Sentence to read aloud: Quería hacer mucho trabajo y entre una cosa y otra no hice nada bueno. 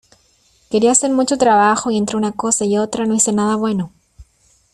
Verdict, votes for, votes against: accepted, 2, 0